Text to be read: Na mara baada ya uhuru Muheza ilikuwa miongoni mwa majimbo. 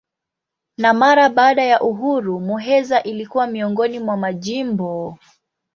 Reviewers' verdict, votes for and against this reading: accepted, 2, 0